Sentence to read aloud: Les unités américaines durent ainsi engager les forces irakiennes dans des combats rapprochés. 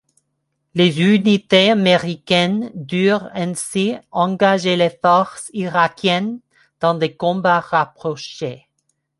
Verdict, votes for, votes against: accepted, 2, 0